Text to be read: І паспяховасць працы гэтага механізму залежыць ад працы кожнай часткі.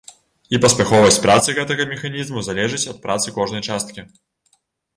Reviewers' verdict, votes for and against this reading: accepted, 2, 0